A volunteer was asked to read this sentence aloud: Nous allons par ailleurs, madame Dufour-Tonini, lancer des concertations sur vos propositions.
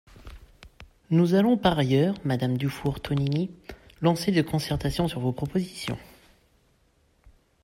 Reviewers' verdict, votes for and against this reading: accepted, 2, 0